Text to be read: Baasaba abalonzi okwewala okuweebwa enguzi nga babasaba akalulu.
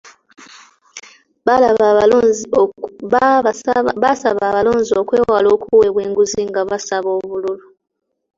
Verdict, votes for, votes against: rejected, 0, 2